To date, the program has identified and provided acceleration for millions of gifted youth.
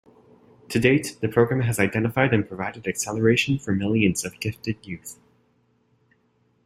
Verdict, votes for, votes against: accepted, 3, 0